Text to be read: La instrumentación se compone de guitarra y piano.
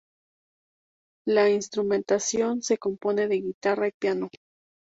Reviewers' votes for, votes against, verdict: 2, 0, accepted